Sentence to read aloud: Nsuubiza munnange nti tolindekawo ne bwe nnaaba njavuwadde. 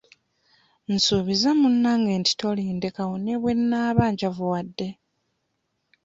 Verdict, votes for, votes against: accepted, 2, 0